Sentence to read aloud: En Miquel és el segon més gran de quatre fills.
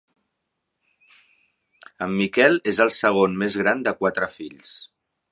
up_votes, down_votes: 4, 0